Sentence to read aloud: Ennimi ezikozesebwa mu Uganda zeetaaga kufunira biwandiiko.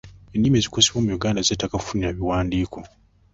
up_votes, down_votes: 1, 2